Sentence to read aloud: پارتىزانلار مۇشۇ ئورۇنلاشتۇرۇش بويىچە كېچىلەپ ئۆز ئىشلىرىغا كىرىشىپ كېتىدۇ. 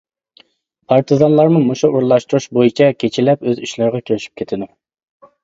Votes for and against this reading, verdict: 0, 2, rejected